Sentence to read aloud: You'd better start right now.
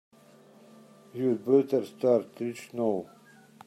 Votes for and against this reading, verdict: 0, 2, rejected